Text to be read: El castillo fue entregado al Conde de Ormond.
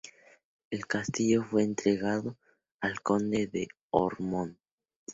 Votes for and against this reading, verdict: 2, 0, accepted